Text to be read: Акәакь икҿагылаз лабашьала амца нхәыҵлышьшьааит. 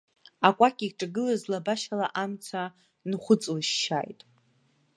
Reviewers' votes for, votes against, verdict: 2, 0, accepted